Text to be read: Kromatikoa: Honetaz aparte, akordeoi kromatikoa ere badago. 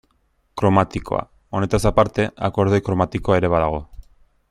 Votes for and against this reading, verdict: 2, 0, accepted